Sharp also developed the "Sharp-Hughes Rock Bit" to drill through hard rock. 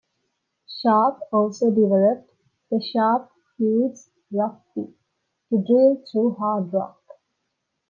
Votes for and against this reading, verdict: 3, 0, accepted